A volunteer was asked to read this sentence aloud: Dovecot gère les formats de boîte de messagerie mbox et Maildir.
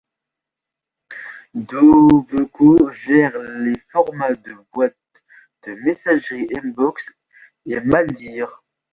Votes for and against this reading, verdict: 1, 2, rejected